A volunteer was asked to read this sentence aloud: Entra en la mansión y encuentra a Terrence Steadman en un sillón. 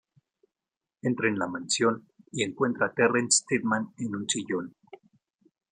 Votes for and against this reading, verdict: 0, 2, rejected